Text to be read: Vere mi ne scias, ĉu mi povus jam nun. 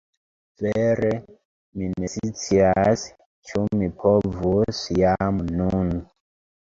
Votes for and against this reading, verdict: 1, 2, rejected